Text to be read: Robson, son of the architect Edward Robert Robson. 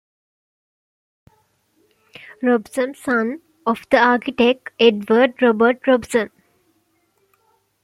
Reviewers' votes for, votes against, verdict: 1, 2, rejected